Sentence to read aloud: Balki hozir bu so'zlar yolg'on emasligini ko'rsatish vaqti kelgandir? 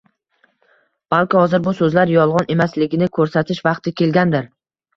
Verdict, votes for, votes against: accepted, 2, 0